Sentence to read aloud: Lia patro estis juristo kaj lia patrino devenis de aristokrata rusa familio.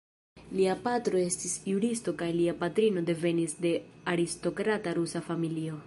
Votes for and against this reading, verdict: 2, 0, accepted